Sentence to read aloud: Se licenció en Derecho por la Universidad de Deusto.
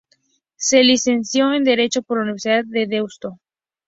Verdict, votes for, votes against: rejected, 0, 2